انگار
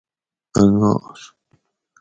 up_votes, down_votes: 4, 0